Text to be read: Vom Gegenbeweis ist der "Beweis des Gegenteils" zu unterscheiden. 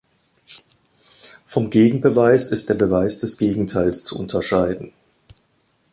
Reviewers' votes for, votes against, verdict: 2, 0, accepted